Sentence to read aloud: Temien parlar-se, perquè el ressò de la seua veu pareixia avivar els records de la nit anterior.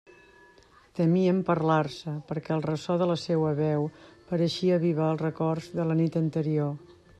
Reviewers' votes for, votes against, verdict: 2, 0, accepted